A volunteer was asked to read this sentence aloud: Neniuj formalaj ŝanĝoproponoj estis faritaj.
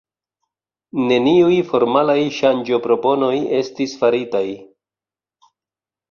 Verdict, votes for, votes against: accepted, 2, 1